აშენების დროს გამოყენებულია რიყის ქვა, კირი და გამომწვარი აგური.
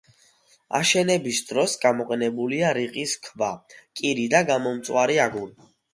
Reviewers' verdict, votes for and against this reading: accepted, 2, 0